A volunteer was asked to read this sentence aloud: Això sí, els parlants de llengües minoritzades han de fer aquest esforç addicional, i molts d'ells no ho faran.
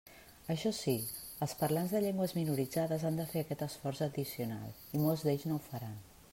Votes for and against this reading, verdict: 3, 0, accepted